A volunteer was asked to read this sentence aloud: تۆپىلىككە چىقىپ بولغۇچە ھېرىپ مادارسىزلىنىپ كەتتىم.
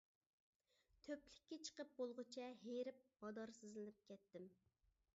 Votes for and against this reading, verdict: 0, 2, rejected